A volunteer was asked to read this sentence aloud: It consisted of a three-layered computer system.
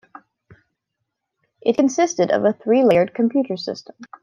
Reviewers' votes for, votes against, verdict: 2, 0, accepted